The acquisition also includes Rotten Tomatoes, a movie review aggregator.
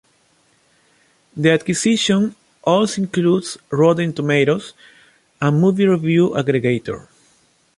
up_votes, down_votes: 2, 0